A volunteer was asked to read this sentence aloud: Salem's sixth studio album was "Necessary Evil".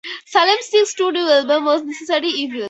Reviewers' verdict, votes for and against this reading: accepted, 2, 0